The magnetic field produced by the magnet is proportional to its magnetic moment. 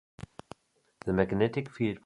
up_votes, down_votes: 2, 3